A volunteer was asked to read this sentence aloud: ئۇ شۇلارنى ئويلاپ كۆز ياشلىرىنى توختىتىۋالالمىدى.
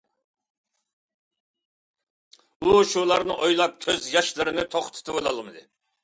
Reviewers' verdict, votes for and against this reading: accepted, 2, 0